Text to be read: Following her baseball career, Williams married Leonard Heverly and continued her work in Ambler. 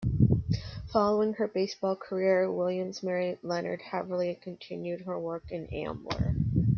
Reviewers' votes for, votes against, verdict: 2, 1, accepted